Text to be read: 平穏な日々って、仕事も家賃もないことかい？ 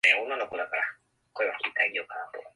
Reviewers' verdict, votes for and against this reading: rejected, 0, 2